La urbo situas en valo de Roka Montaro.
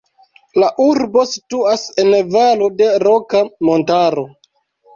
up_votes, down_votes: 2, 1